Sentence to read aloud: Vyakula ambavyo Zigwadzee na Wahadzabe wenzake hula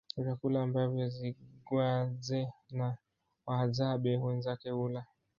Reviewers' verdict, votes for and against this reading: rejected, 1, 2